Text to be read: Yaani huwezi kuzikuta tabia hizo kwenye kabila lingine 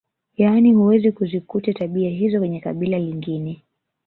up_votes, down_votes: 3, 0